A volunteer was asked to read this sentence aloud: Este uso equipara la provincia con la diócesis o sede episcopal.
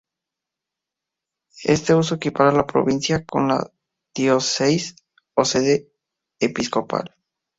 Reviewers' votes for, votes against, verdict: 2, 0, accepted